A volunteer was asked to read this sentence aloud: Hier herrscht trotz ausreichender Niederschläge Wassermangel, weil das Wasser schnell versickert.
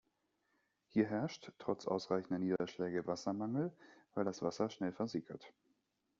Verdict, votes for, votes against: rejected, 1, 2